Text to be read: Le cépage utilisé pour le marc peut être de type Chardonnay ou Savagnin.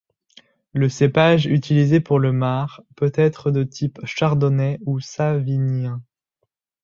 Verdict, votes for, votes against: rejected, 0, 2